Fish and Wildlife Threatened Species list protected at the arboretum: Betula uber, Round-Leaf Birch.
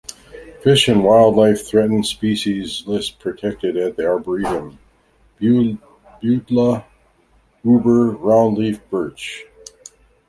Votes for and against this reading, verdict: 0, 2, rejected